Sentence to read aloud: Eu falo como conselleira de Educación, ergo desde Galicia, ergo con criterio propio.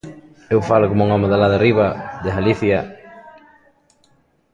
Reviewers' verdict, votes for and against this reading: rejected, 0, 2